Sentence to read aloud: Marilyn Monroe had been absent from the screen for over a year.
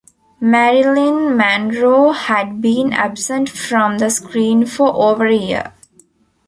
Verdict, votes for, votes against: rejected, 0, 2